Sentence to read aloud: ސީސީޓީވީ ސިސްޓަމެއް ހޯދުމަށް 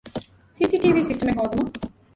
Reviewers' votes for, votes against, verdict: 1, 2, rejected